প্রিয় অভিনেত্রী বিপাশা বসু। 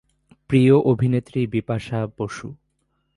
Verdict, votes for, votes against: rejected, 0, 2